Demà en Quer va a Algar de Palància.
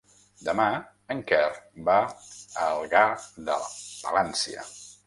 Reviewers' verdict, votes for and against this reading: rejected, 1, 2